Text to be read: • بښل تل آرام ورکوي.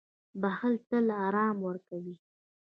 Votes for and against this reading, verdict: 2, 0, accepted